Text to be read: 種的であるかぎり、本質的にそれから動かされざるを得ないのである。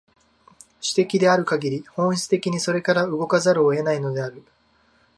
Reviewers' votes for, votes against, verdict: 0, 2, rejected